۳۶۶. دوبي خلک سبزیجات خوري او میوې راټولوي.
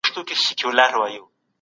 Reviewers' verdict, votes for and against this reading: rejected, 0, 2